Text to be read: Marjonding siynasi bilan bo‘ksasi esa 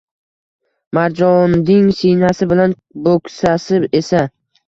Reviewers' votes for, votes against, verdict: 1, 2, rejected